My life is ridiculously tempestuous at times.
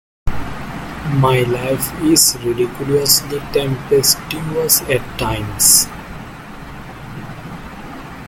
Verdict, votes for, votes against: accepted, 2, 0